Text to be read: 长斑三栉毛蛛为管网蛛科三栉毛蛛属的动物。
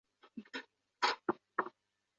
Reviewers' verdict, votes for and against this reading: rejected, 0, 2